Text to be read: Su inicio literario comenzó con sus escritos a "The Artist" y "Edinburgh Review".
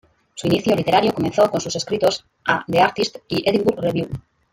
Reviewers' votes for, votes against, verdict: 1, 2, rejected